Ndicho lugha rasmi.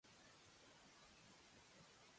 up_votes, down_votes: 1, 2